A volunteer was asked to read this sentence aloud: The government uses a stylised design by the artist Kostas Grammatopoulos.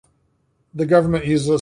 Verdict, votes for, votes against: rejected, 0, 2